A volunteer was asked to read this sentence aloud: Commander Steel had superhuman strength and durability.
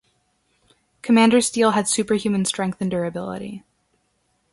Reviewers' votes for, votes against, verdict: 2, 0, accepted